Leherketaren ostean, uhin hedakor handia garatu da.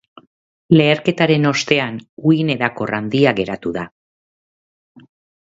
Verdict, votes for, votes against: rejected, 1, 2